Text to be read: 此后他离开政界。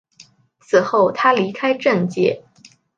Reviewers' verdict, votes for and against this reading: accepted, 2, 0